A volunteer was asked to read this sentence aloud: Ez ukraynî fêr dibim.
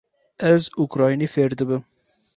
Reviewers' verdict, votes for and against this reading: accepted, 6, 0